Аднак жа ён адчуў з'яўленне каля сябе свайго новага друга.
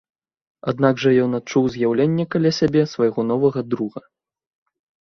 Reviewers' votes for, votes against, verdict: 2, 0, accepted